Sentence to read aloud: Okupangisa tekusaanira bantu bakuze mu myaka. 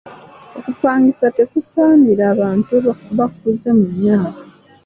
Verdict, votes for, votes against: accepted, 2, 1